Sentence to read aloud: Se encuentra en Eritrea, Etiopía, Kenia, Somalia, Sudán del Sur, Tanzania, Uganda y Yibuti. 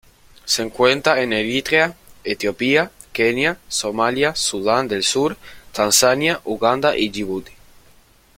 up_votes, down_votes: 2, 1